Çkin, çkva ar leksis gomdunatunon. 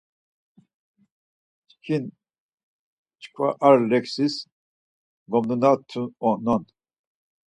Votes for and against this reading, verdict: 2, 4, rejected